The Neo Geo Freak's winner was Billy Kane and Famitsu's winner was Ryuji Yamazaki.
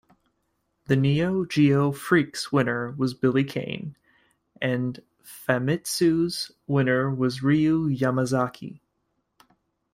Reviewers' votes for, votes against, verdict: 1, 2, rejected